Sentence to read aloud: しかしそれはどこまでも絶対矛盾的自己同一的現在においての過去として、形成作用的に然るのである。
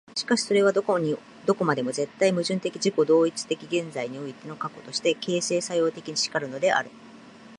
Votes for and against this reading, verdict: 3, 4, rejected